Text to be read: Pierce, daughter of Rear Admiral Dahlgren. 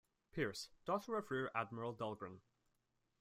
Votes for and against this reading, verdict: 2, 0, accepted